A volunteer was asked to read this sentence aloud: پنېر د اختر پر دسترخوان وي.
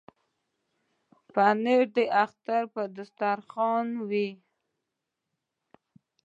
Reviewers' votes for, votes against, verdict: 0, 2, rejected